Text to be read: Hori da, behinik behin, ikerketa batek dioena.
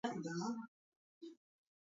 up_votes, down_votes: 0, 4